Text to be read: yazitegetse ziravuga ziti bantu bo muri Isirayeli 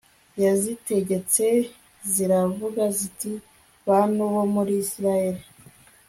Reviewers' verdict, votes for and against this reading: accepted, 2, 0